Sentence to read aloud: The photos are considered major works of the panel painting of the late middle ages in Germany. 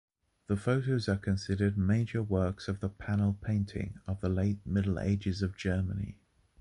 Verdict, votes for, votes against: rejected, 1, 2